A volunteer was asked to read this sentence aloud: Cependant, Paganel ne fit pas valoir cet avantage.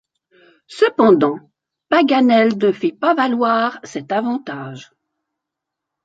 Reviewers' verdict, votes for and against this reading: accepted, 2, 1